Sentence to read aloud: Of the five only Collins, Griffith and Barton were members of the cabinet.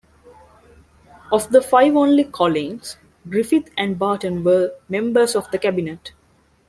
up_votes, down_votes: 2, 0